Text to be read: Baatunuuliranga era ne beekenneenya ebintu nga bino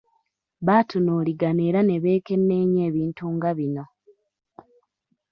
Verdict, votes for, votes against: rejected, 0, 2